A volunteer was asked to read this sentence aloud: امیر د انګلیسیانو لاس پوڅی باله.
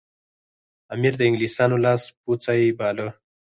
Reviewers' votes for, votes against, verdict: 2, 4, rejected